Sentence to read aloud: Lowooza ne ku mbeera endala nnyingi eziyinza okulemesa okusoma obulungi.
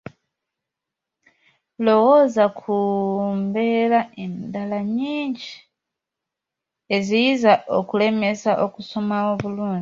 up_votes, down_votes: 0, 2